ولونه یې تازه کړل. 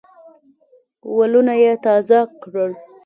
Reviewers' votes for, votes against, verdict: 2, 0, accepted